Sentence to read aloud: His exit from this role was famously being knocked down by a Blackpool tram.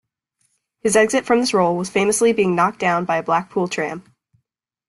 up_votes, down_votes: 2, 0